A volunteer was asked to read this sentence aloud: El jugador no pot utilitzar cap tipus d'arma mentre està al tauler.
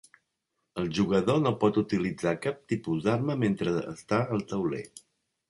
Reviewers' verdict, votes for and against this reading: accepted, 3, 0